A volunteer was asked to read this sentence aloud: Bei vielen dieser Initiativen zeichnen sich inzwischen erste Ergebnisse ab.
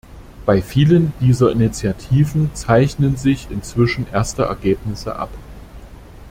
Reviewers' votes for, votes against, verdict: 2, 0, accepted